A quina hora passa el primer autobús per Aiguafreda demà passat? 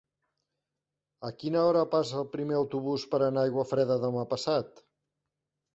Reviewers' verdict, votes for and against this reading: rejected, 0, 2